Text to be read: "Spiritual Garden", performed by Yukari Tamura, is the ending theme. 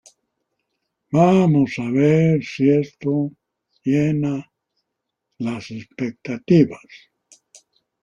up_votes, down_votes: 1, 2